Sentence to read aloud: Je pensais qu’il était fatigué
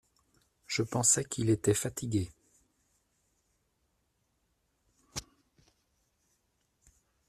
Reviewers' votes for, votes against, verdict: 0, 2, rejected